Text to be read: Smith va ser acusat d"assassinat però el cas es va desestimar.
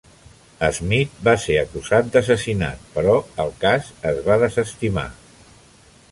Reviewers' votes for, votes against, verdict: 2, 0, accepted